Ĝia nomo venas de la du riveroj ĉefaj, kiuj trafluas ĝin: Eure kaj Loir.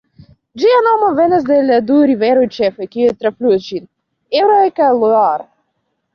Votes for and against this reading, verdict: 0, 2, rejected